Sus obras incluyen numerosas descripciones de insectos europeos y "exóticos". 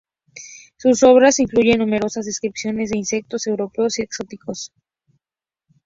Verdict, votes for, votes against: accepted, 2, 0